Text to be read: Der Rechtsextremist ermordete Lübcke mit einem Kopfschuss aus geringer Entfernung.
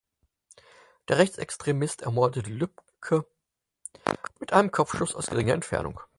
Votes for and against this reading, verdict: 2, 4, rejected